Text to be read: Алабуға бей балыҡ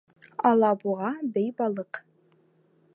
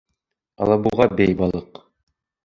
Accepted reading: first